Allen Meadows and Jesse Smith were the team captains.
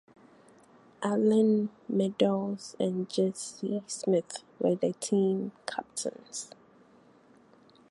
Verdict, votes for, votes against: rejected, 0, 4